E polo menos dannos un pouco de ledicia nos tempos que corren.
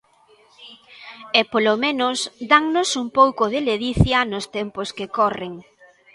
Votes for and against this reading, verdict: 2, 0, accepted